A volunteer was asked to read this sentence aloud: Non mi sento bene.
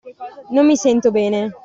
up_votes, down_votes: 2, 0